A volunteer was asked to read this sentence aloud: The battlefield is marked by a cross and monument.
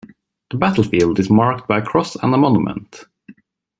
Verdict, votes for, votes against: accepted, 2, 1